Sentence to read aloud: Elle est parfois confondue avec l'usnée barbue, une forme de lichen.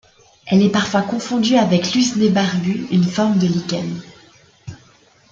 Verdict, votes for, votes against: accepted, 2, 0